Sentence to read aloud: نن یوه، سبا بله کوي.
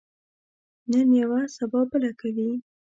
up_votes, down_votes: 2, 0